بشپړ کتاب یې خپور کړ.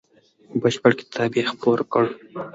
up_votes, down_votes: 2, 1